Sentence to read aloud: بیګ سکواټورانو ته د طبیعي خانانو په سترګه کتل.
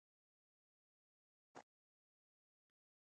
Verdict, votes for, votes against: rejected, 0, 2